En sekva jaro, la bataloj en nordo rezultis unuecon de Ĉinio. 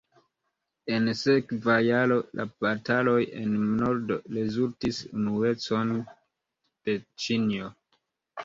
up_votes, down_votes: 2, 0